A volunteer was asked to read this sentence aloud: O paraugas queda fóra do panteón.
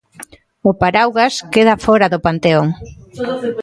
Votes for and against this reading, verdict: 1, 2, rejected